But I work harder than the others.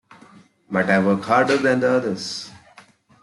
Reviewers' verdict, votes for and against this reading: accepted, 2, 1